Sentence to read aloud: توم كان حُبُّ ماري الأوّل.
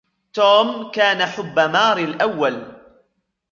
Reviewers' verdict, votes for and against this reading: accepted, 2, 0